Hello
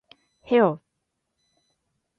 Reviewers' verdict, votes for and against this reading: rejected, 2, 3